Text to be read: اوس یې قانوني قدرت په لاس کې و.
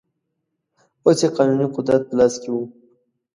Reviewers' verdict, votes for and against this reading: accepted, 2, 0